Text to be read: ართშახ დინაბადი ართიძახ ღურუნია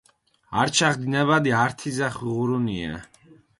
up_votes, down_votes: 0, 4